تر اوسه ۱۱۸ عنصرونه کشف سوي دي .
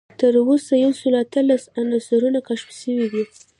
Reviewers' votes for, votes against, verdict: 0, 2, rejected